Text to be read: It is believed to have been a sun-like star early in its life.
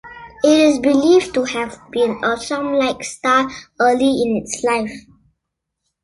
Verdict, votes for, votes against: accepted, 2, 0